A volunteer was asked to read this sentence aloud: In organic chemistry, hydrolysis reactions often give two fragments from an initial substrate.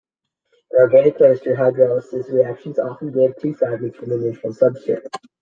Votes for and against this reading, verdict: 2, 0, accepted